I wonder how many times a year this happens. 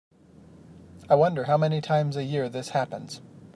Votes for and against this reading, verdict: 2, 0, accepted